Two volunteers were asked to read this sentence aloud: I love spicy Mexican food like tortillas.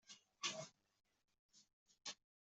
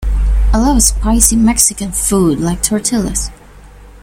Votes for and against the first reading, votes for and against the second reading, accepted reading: 0, 2, 2, 0, second